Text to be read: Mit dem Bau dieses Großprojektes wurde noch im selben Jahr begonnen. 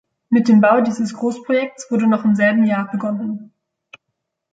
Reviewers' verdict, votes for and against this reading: accepted, 2, 0